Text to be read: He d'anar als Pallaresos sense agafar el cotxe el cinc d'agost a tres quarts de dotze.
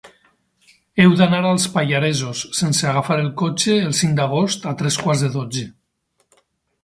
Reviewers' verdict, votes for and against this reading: rejected, 2, 4